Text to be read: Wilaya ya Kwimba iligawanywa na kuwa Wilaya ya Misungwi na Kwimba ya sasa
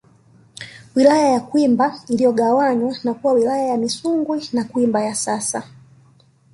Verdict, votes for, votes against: accepted, 2, 1